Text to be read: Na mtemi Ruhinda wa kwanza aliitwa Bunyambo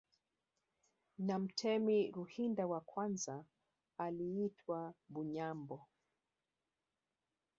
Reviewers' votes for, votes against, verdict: 1, 2, rejected